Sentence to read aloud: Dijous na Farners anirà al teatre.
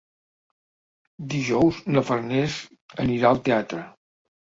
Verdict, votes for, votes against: accepted, 3, 0